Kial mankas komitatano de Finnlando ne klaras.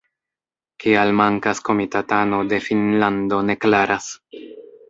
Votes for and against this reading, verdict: 2, 0, accepted